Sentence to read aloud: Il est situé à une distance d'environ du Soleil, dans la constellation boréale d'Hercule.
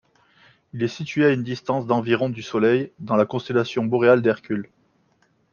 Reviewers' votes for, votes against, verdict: 2, 0, accepted